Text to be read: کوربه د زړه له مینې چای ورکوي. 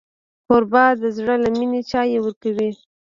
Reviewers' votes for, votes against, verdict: 1, 2, rejected